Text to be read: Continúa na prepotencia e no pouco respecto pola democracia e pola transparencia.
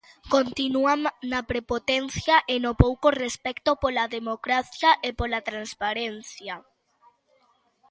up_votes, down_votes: 0, 2